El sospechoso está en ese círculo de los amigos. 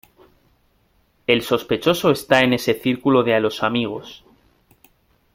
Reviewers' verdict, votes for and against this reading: rejected, 0, 2